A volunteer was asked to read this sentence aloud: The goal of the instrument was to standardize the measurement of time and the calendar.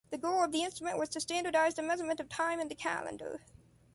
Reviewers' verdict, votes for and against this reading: rejected, 1, 2